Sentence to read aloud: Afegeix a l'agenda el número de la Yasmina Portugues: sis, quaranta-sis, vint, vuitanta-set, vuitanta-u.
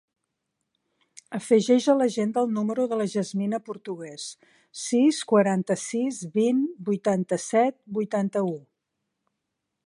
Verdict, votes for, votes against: accepted, 3, 0